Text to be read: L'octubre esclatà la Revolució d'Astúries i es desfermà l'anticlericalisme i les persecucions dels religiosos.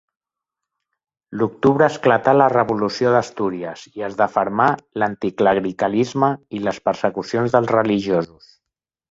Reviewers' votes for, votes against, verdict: 1, 2, rejected